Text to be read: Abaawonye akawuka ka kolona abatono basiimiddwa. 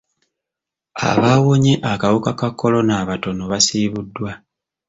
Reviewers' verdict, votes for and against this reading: rejected, 1, 2